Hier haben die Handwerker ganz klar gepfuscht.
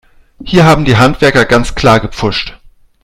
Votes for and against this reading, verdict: 2, 0, accepted